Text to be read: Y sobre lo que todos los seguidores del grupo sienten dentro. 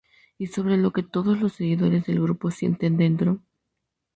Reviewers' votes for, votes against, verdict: 4, 2, accepted